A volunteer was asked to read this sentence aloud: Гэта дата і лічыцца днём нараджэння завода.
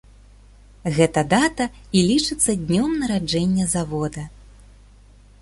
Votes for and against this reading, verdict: 2, 1, accepted